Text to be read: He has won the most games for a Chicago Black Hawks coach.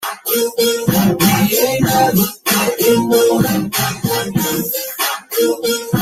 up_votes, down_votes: 0, 2